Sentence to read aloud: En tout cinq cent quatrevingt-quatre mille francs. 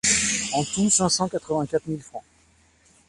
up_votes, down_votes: 2, 1